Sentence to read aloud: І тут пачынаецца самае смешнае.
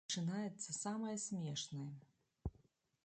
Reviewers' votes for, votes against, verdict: 1, 2, rejected